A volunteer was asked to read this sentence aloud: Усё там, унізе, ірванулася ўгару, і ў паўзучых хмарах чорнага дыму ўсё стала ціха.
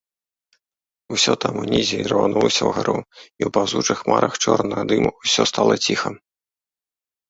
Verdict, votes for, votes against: accepted, 2, 0